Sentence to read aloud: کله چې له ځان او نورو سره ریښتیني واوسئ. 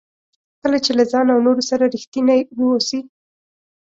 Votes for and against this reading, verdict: 2, 0, accepted